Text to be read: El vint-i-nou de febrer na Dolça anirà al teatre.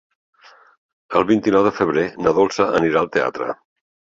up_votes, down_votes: 2, 0